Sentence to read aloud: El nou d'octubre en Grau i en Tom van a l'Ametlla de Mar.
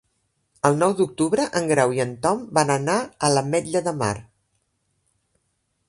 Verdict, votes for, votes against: rejected, 1, 2